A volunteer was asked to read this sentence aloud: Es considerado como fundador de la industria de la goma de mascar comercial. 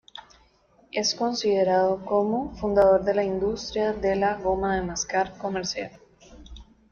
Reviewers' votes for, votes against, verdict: 2, 1, accepted